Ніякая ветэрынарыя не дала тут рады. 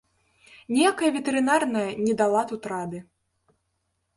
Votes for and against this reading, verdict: 0, 2, rejected